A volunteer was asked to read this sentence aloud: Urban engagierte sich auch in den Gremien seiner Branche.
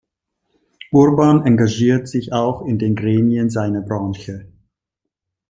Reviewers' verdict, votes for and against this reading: rejected, 1, 2